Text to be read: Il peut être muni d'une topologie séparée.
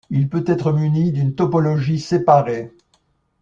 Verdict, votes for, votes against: accepted, 2, 0